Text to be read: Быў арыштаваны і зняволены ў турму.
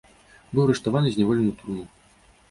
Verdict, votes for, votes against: accepted, 2, 1